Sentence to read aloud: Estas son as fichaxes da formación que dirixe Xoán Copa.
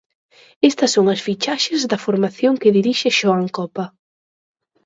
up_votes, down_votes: 14, 0